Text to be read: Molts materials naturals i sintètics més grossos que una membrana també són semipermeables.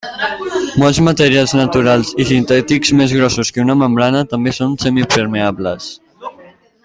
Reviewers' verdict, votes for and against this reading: accepted, 2, 1